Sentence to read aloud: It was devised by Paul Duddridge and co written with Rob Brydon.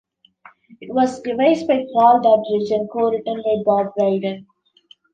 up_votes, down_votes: 2, 0